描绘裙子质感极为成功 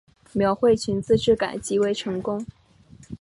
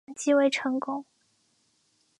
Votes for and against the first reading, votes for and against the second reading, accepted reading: 3, 0, 0, 2, first